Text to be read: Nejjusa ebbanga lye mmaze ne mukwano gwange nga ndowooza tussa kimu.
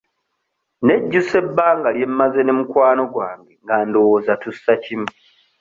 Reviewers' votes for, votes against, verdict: 2, 0, accepted